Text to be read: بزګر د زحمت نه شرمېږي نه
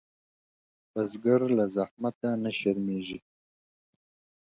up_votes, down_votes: 0, 2